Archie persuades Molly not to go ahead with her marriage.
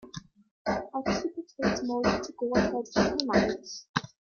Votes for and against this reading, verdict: 0, 2, rejected